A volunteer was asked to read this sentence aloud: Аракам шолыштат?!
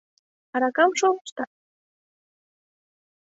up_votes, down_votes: 3, 0